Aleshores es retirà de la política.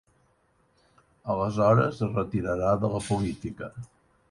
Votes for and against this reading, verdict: 1, 2, rejected